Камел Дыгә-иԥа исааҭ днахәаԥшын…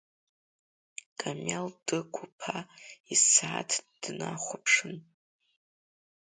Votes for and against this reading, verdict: 2, 0, accepted